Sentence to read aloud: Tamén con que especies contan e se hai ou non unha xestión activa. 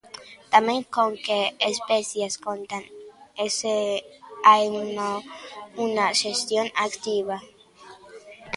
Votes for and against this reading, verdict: 0, 2, rejected